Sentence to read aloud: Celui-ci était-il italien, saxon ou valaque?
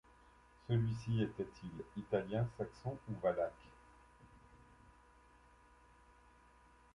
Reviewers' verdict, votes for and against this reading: accepted, 2, 1